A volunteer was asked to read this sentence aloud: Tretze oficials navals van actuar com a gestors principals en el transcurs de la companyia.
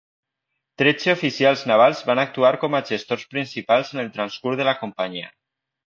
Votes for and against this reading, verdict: 2, 0, accepted